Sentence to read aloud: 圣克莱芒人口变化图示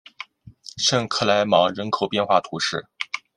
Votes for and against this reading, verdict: 2, 0, accepted